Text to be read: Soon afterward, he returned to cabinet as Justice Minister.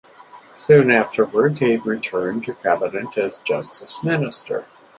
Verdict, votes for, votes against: accepted, 4, 0